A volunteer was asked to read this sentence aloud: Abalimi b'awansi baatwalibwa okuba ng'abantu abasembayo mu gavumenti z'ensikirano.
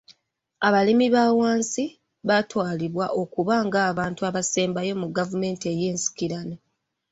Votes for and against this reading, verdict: 1, 2, rejected